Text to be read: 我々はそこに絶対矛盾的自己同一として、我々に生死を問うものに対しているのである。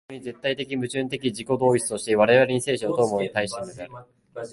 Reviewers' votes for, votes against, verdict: 1, 3, rejected